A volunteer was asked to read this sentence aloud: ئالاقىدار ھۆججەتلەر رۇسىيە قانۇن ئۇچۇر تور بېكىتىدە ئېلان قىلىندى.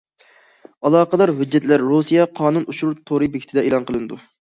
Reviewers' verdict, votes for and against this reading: rejected, 0, 2